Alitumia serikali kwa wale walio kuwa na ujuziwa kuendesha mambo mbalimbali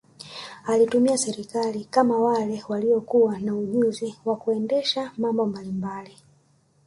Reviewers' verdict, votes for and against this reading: accepted, 2, 1